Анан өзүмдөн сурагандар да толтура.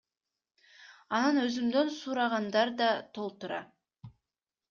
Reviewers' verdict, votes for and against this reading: accepted, 2, 0